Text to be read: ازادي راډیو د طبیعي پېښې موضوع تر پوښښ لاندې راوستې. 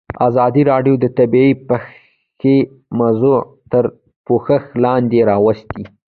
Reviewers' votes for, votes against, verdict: 2, 0, accepted